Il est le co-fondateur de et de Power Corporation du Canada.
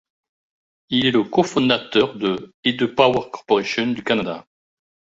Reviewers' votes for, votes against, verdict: 2, 1, accepted